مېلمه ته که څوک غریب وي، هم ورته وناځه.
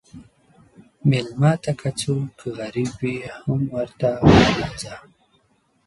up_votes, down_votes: 1, 2